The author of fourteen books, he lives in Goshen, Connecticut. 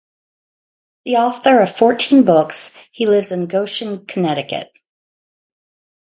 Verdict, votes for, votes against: rejected, 0, 2